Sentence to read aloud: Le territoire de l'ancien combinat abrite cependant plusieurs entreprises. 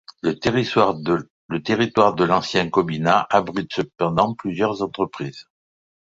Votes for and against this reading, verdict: 0, 2, rejected